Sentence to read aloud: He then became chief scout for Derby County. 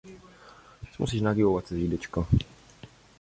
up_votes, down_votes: 0, 2